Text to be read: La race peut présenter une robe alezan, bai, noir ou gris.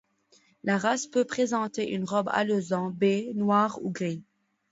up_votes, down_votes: 2, 0